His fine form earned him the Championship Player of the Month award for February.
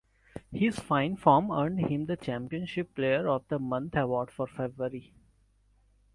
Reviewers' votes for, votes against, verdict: 2, 0, accepted